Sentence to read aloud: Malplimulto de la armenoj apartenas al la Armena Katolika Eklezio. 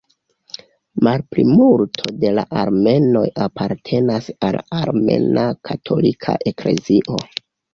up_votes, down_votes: 1, 2